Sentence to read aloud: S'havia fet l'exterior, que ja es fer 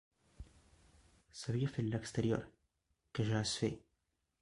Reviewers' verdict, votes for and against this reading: rejected, 1, 2